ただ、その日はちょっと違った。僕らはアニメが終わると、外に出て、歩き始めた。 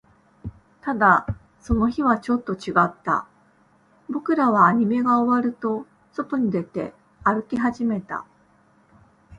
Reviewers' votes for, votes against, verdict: 12, 0, accepted